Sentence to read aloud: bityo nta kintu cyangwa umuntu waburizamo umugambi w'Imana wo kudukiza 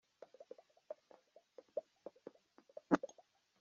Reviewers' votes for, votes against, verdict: 0, 2, rejected